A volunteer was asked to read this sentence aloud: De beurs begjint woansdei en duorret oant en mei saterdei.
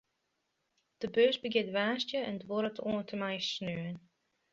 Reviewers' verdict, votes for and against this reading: rejected, 0, 2